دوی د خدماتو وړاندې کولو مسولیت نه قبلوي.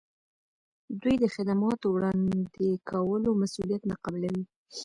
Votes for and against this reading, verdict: 2, 0, accepted